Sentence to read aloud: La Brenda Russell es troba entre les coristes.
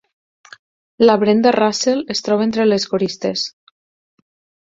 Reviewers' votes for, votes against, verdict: 4, 0, accepted